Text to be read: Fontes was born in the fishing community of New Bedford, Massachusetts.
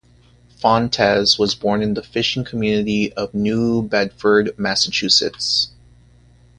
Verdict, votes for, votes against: accepted, 4, 0